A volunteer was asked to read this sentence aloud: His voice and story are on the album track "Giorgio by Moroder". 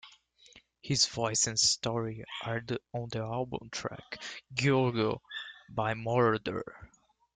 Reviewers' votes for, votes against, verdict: 2, 1, accepted